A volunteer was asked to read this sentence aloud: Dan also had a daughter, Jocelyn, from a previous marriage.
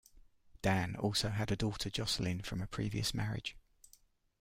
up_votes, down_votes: 2, 1